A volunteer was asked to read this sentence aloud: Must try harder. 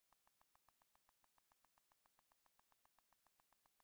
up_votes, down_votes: 0, 2